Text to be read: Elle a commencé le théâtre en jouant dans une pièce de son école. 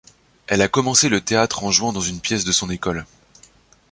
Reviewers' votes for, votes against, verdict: 2, 0, accepted